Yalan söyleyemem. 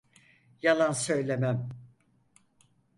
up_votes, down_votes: 2, 4